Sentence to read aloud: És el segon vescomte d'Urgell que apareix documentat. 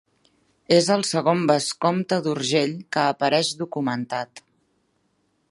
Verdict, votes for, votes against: accepted, 3, 0